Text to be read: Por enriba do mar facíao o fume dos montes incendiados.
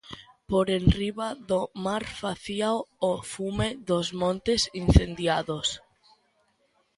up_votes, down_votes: 1, 2